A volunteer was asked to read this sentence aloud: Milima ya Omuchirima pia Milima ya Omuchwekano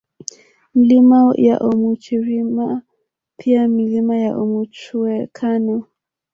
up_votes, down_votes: 1, 2